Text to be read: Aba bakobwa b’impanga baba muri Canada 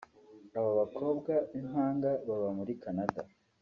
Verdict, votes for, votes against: accepted, 2, 0